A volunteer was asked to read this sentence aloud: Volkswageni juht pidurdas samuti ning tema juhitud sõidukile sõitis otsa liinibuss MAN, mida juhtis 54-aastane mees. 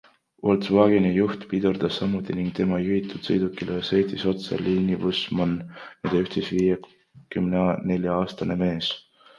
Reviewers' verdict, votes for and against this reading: rejected, 0, 2